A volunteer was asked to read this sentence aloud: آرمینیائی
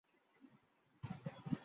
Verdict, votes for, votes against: rejected, 0, 2